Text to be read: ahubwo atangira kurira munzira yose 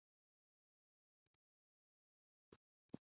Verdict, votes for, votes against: rejected, 0, 2